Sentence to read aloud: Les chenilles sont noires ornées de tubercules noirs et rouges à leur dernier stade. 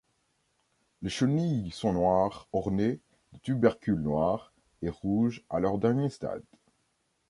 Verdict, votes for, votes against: rejected, 1, 2